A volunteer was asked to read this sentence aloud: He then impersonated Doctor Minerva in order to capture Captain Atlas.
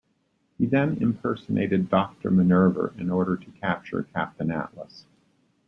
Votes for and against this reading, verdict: 0, 2, rejected